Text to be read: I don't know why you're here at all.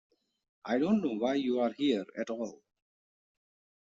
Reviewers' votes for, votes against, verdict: 0, 2, rejected